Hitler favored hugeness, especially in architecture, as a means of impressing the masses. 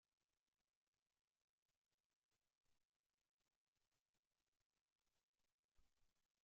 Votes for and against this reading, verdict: 1, 3, rejected